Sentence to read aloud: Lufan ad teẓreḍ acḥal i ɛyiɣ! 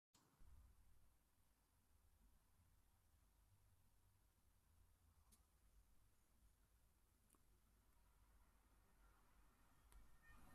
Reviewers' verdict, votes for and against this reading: rejected, 1, 2